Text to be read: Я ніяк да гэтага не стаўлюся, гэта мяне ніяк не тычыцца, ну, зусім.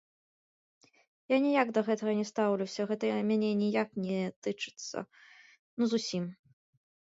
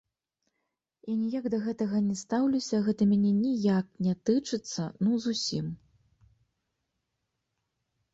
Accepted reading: second